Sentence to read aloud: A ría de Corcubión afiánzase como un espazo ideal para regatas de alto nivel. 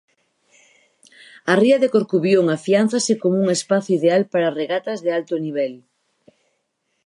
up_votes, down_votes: 2, 2